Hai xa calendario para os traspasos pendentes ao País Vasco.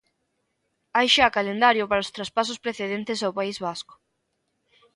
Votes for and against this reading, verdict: 1, 3, rejected